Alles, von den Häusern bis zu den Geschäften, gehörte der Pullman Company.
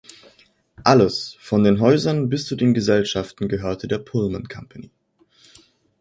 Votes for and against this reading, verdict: 0, 2, rejected